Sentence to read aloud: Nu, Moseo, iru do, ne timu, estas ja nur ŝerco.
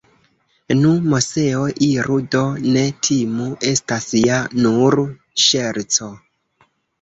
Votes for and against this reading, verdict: 0, 2, rejected